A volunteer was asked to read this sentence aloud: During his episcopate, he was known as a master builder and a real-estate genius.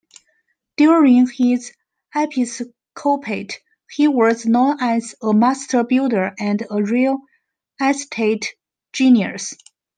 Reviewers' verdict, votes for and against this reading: rejected, 1, 2